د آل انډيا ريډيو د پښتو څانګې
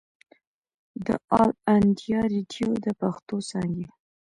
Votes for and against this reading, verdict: 1, 2, rejected